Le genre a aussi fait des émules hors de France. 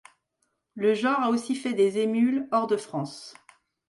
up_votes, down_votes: 2, 0